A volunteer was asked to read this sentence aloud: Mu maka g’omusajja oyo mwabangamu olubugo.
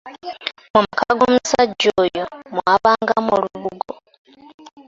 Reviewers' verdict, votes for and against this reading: accepted, 2, 1